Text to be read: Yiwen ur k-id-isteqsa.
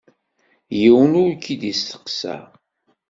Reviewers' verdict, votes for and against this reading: accepted, 2, 0